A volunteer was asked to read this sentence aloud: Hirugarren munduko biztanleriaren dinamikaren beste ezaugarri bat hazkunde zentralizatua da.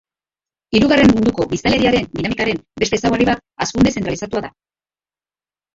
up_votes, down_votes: 0, 3